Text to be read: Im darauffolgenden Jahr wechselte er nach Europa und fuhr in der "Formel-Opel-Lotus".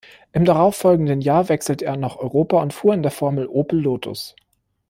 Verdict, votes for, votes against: rejected, 0, 2